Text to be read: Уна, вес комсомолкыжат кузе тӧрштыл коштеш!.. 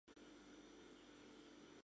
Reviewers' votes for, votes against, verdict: 0, 2, rejected